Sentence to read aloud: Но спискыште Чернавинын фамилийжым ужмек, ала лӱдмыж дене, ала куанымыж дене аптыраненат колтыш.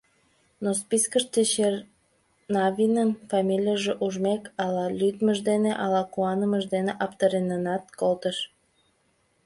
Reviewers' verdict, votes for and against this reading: rejected, 0, 2